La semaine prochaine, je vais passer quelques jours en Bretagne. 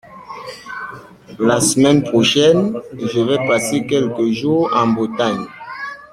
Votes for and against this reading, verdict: 2, 1, accepted